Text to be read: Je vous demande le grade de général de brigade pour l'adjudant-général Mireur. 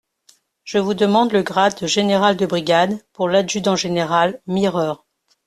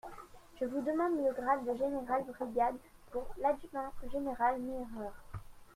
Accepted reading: first